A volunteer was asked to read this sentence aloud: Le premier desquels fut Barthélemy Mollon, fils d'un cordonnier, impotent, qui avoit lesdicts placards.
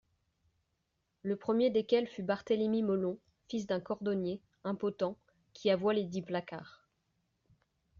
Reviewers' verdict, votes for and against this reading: accepted, 2, 0